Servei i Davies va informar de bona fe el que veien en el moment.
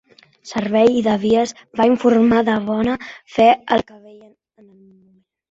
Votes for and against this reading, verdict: 0, 2, rejected